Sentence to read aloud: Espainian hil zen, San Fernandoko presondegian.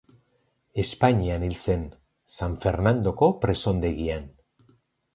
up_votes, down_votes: 2, 0